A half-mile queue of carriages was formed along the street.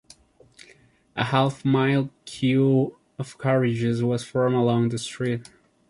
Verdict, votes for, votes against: accepted, 2, 1